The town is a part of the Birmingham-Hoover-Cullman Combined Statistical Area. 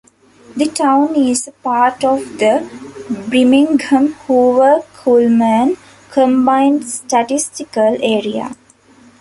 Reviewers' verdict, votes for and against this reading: rejected, 0, 2